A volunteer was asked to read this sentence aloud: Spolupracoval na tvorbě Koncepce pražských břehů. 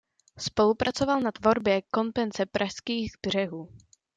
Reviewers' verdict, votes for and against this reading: rejected, 0, 2